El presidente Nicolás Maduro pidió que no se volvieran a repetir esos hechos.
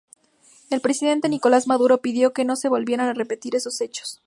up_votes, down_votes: 4, 0